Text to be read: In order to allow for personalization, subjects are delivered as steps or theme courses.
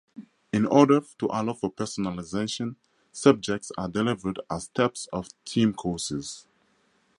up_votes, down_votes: 2, 2